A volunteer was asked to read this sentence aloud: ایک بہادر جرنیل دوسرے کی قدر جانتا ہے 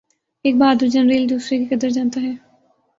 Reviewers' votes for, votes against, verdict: 4, 0, accepted